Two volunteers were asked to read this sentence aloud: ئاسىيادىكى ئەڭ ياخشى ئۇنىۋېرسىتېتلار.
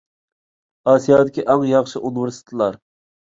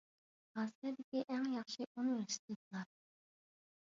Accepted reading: first